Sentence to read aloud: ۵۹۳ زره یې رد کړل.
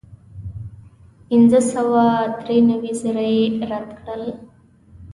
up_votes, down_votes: 0, 2